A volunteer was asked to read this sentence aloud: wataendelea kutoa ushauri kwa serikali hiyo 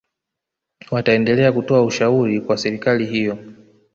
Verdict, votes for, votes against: rejected, 1, 2